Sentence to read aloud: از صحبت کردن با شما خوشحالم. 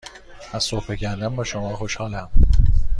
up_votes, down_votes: 3, 0